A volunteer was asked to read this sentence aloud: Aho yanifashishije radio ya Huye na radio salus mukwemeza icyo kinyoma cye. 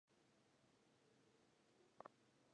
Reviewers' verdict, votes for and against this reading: rejected, 0, 2